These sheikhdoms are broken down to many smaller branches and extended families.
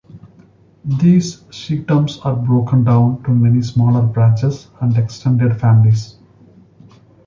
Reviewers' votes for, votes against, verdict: 2, 0, accepted